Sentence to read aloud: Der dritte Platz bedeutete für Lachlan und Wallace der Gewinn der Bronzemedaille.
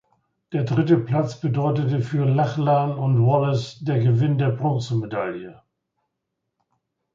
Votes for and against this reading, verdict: 2, 0, accepted